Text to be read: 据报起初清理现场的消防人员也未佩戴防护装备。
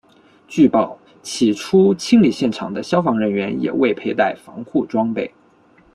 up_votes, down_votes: 2, 0